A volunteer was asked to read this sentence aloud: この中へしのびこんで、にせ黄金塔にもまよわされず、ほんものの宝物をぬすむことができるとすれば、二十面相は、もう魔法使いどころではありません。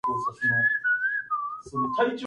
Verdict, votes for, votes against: rejected, 0, 2